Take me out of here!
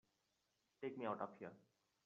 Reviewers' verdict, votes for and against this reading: accepted, 2, 1